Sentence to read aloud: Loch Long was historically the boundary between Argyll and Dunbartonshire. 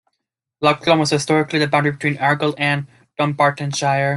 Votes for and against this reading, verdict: 2, 0, accepted